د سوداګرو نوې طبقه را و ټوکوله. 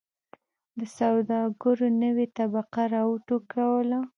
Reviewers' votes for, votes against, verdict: 0, 2, rejected